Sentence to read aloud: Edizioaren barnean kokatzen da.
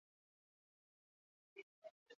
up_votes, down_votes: 0, 4